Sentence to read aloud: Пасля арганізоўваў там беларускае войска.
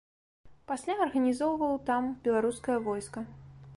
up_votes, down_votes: 3, 0